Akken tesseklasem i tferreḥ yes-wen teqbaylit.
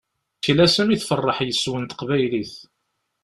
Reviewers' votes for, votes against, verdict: 0, 2, rejected